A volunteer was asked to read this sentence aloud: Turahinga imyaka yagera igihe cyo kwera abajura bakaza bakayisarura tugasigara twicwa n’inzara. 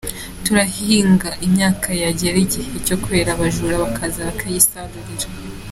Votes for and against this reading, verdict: 0, 2, rejected